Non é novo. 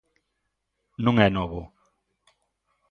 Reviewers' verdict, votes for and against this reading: accepted, 2, 0